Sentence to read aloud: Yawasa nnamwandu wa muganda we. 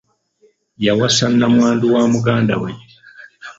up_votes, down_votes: 2, 1